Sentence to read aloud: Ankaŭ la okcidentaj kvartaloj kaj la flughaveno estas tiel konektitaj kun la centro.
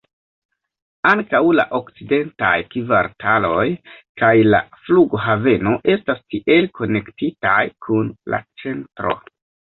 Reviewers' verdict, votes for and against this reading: accepted, 2, 0